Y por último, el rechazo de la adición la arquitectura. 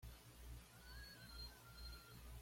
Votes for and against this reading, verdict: 1, 2, rejected